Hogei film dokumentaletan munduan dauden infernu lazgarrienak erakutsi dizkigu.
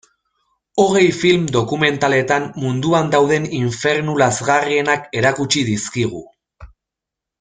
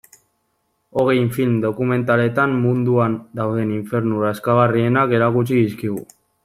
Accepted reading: first